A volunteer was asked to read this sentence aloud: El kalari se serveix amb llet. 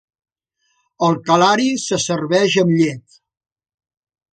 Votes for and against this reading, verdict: 2, 0, accepted